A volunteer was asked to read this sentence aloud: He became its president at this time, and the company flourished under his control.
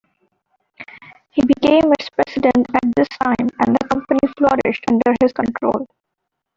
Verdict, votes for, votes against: rejected, 0, 2